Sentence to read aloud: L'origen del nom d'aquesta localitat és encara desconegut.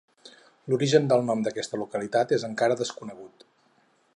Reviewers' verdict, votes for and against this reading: accepted, 4, 0